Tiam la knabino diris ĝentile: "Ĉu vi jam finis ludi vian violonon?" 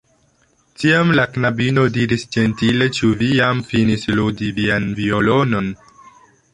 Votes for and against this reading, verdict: 2, 0, accepted